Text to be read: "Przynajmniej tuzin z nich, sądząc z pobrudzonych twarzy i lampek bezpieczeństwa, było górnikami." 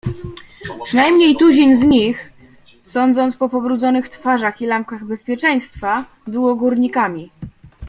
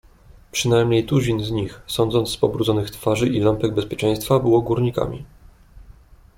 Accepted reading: second